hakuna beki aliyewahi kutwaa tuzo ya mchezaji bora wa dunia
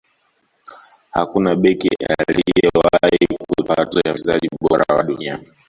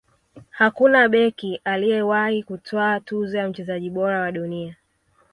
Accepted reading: second